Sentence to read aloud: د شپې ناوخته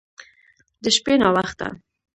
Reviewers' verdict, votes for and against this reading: rejected, 1, 2